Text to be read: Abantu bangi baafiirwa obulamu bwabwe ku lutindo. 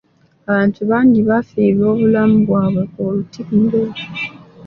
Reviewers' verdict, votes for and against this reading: rejected, 1, 2